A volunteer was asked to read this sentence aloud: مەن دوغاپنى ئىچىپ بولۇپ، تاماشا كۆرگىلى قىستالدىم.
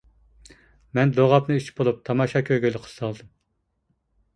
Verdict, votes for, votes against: rejected, 1, 2